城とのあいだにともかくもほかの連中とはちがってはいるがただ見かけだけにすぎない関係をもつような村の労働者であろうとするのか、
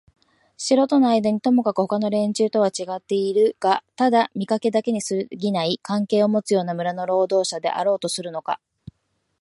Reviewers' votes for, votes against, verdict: 2, 0, accepted